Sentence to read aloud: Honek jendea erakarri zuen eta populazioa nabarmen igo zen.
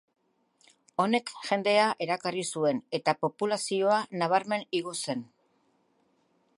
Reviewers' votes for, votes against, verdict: 0, 2, rejected